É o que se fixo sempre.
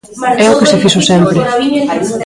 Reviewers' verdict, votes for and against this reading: rejected, 0, 2